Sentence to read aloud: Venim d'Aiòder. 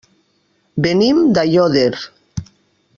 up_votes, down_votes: 1, 2